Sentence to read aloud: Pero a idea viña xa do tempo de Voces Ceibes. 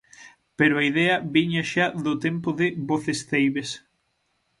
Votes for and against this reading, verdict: 6, 0, accepted